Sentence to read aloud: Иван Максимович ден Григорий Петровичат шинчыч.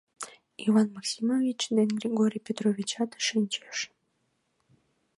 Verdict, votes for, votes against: rejected, 1, 2